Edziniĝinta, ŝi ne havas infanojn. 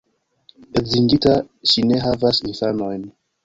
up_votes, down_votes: 1, 2